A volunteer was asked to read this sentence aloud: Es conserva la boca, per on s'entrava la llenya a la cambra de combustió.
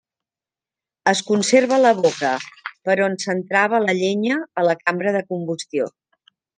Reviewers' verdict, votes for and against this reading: accepted, 2, 0